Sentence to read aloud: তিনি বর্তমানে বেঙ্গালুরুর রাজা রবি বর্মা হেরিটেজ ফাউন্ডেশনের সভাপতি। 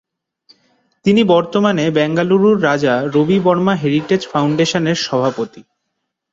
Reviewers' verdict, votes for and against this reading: accepted, 10, 0